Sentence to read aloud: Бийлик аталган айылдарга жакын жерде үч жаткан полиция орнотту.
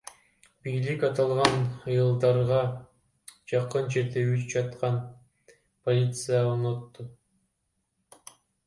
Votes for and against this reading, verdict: 2, 0, accepted